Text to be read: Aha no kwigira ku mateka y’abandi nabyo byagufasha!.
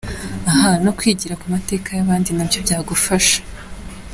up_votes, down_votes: 2, 1